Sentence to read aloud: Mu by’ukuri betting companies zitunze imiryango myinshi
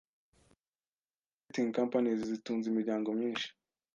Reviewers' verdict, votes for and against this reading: rejected, 1, 2